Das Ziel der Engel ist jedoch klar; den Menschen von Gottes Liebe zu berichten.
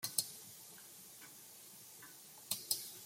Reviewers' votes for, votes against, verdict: 0, 2, rejected